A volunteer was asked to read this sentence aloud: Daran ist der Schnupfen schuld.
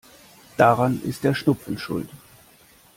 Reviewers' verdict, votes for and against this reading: accepted, 2, 0